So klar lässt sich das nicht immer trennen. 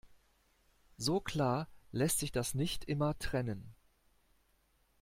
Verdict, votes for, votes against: accepted, 2, 0